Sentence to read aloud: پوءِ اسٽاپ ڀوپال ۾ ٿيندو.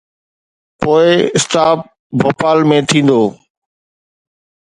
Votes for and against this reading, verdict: 2, 0, accepted